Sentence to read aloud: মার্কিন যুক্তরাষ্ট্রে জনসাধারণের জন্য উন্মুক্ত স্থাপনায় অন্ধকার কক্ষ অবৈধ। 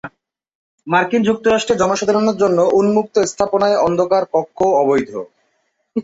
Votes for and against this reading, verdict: 2, 2, rejected